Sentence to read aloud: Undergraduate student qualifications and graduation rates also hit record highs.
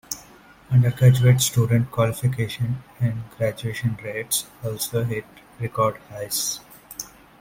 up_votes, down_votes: 2, 1